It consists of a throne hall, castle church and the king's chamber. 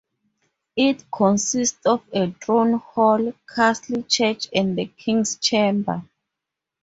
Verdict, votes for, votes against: rejected, 2, 2